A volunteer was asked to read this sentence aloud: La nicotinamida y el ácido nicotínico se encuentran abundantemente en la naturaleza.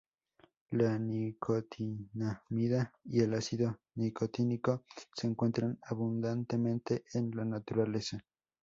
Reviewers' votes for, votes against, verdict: 2, 0, accepted